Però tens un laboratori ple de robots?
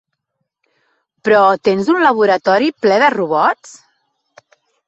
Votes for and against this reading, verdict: 3, 0, accepted